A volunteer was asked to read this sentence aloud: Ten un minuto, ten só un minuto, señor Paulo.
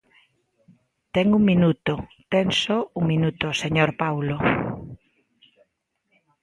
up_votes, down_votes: 2, 0